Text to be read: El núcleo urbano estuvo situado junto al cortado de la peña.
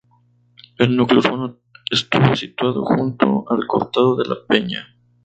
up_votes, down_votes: 0, 2